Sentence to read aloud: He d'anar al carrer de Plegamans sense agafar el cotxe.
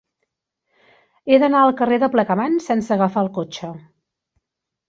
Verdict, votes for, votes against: accepted, 2, 0